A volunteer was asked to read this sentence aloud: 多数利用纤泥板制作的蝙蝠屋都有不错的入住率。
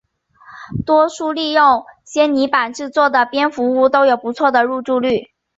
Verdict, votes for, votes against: accepted, 2, 0